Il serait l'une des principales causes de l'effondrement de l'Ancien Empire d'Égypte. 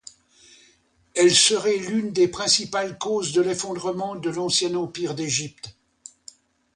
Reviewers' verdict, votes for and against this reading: rejected, 1, 2